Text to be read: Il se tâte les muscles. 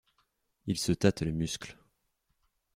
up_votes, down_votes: 2, 0